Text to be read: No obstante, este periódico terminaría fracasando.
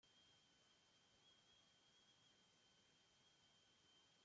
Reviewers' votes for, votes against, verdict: 0, 2, rejected